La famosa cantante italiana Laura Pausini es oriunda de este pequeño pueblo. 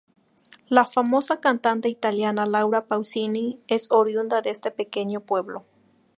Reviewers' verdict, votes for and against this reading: accepted, 2, 0